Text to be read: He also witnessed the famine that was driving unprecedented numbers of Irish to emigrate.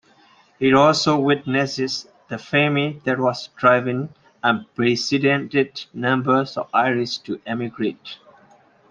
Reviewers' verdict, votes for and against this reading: rejected, 0, 2